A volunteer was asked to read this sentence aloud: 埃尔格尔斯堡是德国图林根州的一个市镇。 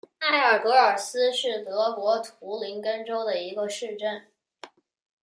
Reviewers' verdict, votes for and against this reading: rejected, 1, 2